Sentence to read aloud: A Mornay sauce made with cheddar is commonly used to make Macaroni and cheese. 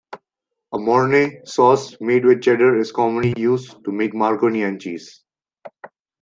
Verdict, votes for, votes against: rejected, 0, 2